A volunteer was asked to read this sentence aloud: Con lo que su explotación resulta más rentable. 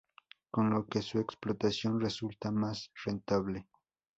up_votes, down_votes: 4, 0